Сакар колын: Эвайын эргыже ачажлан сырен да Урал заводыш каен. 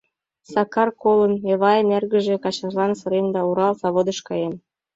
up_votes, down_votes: 2, 0